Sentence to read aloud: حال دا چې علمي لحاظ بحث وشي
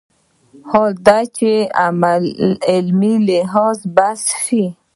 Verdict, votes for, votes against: accepted, 2, 1